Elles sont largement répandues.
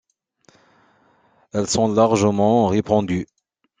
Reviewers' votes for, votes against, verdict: 2, 0, accepted